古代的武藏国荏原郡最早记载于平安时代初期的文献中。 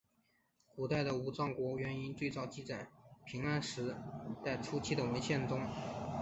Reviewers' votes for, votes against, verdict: 3, 0, accepted